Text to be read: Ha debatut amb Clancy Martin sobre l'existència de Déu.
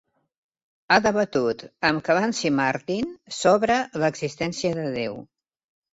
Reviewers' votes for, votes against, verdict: 2, 0, accepted